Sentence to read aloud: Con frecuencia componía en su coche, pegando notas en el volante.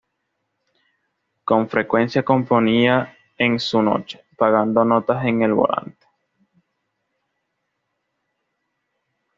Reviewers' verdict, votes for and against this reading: accepted, 2, 1